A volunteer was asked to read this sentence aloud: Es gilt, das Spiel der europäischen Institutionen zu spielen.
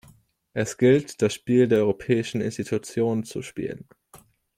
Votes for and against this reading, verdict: 2, 1, accepted